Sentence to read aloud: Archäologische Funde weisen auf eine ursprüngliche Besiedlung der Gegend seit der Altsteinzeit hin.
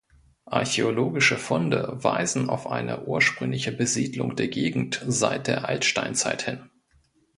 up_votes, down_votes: 2, 0